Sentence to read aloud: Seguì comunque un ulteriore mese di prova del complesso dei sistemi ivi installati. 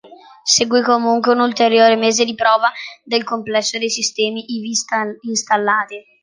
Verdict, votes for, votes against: rejected, 0, 2